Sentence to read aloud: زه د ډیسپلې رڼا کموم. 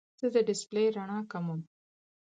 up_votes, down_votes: 4, 0